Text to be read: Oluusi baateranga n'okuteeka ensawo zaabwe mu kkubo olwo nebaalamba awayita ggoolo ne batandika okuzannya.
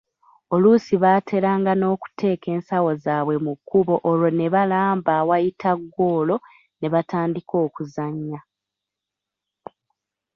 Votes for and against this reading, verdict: 2, 0, accepted